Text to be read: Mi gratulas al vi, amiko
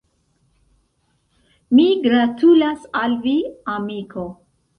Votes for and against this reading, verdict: 2, 0, accepted